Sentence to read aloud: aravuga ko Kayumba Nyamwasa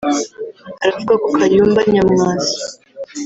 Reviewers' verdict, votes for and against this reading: rejected, 1, 2